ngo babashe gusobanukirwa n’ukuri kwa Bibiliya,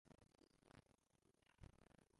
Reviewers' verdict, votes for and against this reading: rejected, 0, 2